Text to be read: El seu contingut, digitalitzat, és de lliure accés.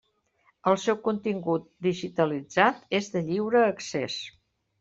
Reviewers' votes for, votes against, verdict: 3, 0, accepted